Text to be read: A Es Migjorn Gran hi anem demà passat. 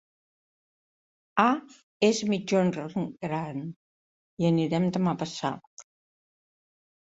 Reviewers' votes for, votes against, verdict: 0, 3, rejected